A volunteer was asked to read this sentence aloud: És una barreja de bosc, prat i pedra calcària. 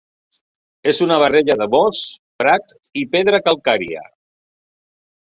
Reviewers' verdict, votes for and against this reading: rejected, 1, 2